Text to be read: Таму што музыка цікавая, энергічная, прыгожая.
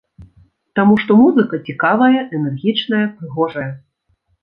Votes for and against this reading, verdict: 2, 0, accepted